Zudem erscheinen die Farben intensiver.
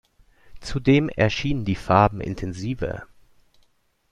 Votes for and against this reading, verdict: 0, 2, rejected